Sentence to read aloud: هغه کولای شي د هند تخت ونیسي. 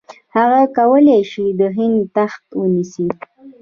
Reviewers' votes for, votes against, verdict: 1, 2, rejected